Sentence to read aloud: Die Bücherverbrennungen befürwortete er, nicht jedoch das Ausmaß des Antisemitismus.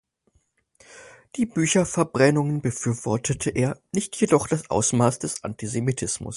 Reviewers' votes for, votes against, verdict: 4, 0, accepted